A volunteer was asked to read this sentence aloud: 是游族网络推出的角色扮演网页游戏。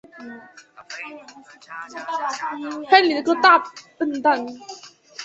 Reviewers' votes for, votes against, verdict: 2, 3, rejected